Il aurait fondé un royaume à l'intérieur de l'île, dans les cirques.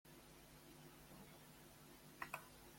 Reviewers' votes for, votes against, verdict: 0, 2, rejected